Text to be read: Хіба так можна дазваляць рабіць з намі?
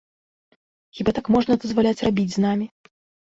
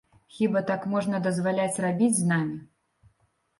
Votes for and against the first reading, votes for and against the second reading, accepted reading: 2, 0, 1, 2, first